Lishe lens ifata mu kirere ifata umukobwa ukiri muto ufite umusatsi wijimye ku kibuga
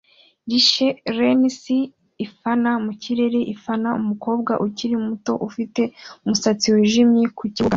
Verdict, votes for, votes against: rejected, 0, 2